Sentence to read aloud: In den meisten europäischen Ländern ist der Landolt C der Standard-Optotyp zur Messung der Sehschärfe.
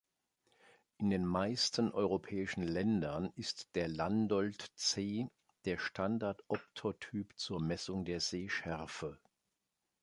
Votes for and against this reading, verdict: 2, 1, accepted